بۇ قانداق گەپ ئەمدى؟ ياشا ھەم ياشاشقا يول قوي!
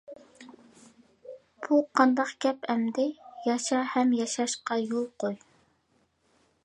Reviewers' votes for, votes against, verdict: 2, 0, accepted